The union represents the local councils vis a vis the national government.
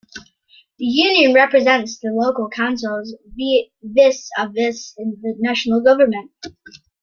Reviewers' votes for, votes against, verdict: 1, 2, rejected